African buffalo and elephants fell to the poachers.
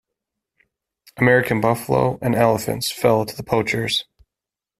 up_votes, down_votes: 1, 2